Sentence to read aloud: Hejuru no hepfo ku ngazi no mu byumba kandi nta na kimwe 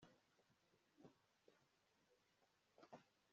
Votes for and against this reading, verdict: 1, 2, rejected